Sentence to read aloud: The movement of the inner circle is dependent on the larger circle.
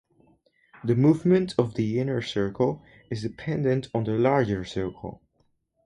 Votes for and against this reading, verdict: 4, 0, accepted